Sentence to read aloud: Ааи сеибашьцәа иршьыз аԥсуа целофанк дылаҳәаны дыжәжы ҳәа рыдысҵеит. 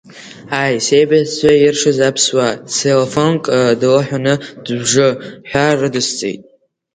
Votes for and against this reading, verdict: 0, 2, rejected